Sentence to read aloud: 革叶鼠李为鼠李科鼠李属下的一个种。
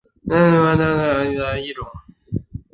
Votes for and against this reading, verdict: 0, 4, rejected